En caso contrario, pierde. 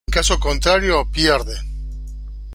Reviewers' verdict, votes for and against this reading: accepted, 2, 0